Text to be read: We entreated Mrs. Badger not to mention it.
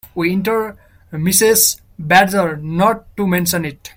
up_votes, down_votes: 1, 2